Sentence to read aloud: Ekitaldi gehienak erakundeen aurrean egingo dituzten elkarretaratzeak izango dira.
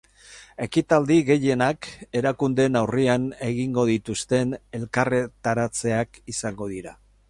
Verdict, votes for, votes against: rejected, 2, 2